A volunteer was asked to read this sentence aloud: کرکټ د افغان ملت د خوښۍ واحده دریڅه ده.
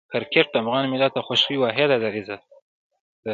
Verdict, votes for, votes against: rejected, 1, 2